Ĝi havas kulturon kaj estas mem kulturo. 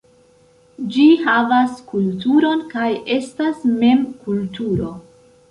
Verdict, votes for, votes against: rejected, 1, 2